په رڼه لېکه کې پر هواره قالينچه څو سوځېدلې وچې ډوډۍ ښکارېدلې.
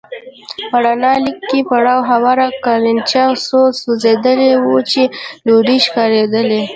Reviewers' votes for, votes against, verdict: 0, 2, rejected